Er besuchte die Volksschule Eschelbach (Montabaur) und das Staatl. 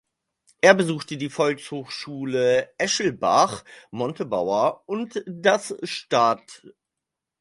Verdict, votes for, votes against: rejected, 0, 4